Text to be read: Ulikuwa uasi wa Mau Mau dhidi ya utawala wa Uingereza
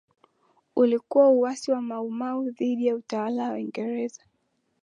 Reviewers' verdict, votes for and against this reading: accepted, 2, 0